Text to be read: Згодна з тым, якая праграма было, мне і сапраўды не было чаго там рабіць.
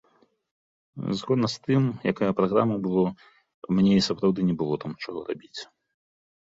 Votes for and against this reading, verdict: 1, 2, rejected